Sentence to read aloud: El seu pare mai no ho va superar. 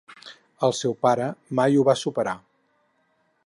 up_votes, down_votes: 2, 6